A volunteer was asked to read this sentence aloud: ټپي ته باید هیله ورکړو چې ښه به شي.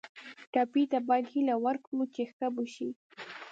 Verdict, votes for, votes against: accepted, 2, 0